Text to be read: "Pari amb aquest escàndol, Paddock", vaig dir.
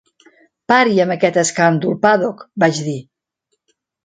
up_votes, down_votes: 2, 0